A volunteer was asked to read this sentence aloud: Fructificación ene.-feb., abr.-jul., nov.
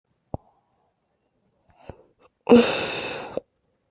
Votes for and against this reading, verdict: 0, 2, rejected